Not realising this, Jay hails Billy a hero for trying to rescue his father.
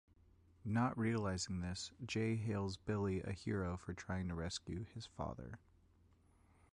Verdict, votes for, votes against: accepted, 3, 1